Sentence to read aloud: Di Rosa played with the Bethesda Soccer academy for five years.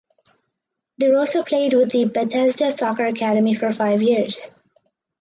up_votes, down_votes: 4, 0